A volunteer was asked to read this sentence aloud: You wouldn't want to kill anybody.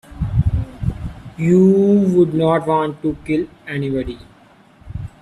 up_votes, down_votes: 1, 2